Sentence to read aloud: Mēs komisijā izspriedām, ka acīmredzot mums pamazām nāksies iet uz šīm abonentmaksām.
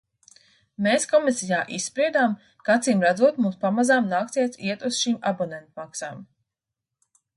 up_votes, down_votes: 2, 1